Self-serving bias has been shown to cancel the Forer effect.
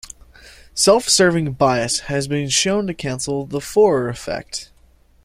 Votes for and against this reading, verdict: 2, 0, accepted